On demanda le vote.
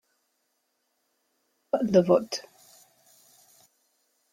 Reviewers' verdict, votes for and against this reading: rejected, 0, 2